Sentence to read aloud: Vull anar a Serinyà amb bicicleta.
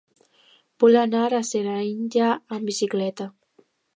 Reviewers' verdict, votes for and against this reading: rejected, 0, 2